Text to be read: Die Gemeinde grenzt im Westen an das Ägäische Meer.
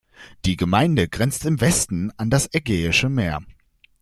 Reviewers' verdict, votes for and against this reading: accepted, 2, 0